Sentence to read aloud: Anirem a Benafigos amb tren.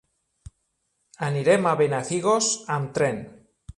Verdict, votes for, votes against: accepted, 2, 0